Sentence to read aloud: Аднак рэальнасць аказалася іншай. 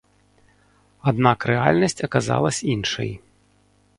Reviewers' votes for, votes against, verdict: 0, 2, rejected